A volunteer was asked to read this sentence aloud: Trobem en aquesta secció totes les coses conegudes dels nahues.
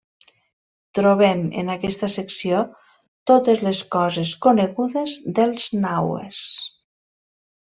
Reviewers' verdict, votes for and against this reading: rejected, 0, 2